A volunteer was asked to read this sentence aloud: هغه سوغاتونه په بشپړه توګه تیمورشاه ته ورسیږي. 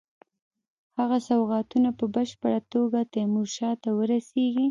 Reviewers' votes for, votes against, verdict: 1, 2, rejected